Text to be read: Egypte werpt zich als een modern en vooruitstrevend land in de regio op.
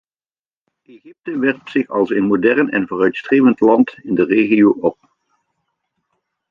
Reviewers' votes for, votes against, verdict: 1, 2, rejected